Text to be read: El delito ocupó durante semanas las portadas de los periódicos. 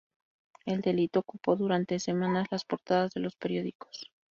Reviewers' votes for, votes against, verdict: 2, 0, accepted